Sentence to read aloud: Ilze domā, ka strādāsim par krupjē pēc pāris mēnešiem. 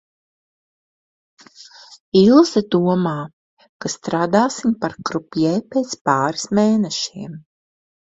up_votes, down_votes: 2, 0